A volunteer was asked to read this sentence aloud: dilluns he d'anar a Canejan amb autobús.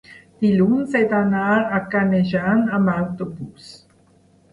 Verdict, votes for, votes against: accepted, 2, 0